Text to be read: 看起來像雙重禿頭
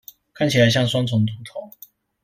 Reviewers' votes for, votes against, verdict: 2, 0, accepted